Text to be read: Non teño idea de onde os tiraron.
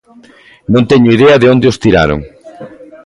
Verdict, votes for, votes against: accepted, 2, 0